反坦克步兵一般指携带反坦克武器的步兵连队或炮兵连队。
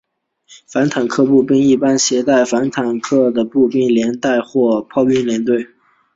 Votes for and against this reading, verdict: 6, 1, accepted